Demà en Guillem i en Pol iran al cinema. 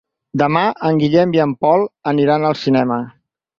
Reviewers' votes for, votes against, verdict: 2, 4, rejected